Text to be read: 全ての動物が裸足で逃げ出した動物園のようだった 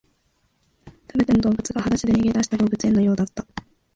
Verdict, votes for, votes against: rejected, 1, 2